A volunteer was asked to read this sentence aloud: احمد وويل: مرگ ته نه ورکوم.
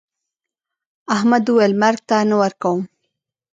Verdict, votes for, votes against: rejected, 0, 2